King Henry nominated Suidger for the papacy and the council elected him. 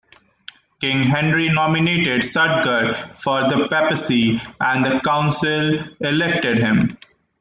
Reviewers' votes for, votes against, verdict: 2, 0, accepted